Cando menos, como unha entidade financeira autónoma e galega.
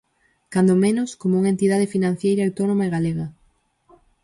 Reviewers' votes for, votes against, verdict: 2, 4, rejected